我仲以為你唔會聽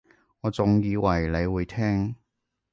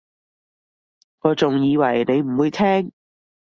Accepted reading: second